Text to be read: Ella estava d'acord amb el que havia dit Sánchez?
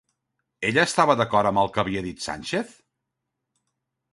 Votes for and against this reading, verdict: 1, 2, rejected